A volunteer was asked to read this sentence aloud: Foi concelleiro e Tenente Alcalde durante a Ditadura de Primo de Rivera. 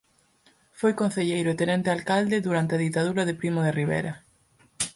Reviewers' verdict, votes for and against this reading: accepted, 4, 0